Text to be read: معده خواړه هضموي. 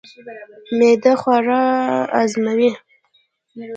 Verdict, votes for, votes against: accepted, 2, 0